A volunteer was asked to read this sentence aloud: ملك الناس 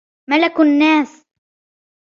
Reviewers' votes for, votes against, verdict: 1, 2, rejected